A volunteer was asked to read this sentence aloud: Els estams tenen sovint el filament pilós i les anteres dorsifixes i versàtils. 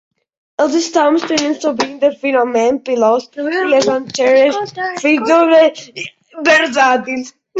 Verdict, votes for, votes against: rejected, 0, 2